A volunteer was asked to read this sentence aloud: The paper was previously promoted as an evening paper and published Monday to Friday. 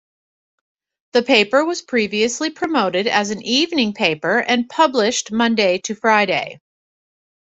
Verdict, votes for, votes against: accepted, 2, 0